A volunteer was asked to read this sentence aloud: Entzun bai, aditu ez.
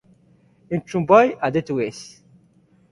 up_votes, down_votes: 2, 0